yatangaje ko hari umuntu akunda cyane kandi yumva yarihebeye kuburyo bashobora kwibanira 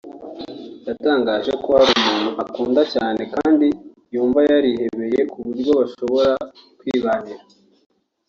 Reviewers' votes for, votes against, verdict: 1, 2, rejected